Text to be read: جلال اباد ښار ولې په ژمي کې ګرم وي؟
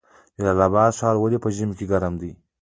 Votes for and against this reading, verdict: 2, 1, accepted